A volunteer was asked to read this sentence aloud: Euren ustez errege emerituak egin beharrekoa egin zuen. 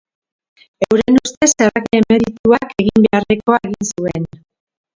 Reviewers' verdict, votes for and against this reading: rejected, 0, 2